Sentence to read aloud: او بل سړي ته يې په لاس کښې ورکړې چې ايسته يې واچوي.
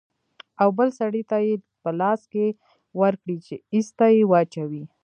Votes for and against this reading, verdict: 2, 1, accepted